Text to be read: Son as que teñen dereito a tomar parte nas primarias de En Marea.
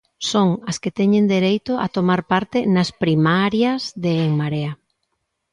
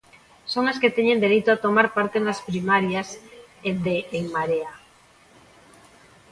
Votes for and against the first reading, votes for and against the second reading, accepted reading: 2, 0, 0, 2, first